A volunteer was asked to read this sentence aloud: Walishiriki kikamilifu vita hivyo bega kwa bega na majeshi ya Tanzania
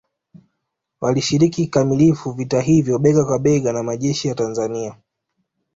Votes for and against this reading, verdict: 2, 0, accepted